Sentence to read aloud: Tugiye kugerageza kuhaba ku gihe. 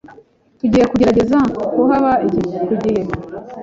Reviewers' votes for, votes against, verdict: 1, 2, rejected